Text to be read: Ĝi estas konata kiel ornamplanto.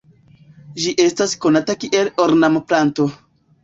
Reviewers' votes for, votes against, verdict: 2, 1, accepted